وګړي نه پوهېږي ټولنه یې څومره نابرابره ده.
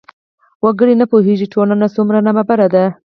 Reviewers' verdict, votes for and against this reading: accepted, 4, 2